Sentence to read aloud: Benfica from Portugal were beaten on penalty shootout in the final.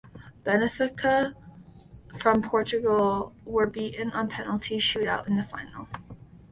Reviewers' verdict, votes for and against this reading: accepted, 2, 1